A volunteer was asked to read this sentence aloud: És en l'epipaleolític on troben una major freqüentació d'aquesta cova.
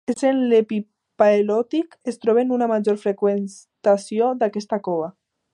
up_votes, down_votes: 0, 2